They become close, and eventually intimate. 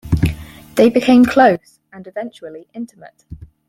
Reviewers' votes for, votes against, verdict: 2, 4, rejected